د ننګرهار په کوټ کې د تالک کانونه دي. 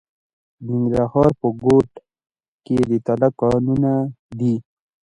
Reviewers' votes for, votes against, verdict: 0, 2, rejected